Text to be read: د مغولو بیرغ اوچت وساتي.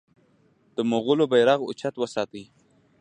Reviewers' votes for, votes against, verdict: 0, 2, rejected